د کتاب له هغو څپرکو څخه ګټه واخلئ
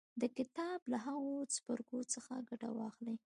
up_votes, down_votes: 2, 1